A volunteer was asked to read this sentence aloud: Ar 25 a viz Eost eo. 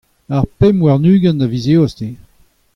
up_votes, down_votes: 0, 2